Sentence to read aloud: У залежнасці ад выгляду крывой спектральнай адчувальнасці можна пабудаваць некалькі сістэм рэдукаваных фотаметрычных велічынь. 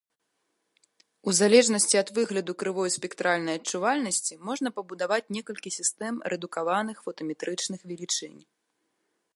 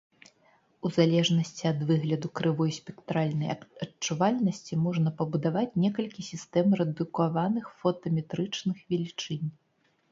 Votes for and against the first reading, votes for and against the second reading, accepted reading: 2, 0, 1, 2, first